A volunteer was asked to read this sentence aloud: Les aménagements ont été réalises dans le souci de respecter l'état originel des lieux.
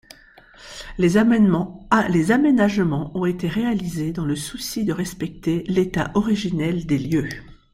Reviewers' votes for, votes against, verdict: 0, 3, rejected